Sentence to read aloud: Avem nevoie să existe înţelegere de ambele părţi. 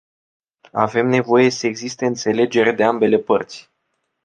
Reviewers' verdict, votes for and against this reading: accepted, 2, 0